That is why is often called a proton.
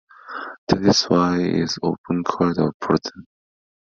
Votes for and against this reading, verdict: 0, 2, rejected